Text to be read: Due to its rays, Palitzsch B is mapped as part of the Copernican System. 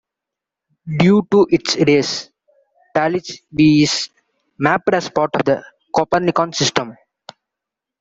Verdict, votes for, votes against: rejected, 1, 2